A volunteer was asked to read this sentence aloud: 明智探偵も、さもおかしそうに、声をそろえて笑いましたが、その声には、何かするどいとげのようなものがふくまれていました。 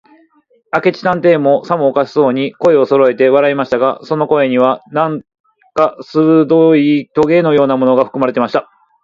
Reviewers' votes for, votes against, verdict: 2, 4, rejected